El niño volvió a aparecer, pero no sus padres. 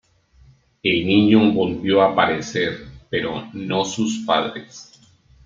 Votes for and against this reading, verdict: 2, 0, accepted